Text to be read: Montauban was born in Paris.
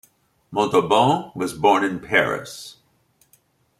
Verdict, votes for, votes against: accepted, 2, 0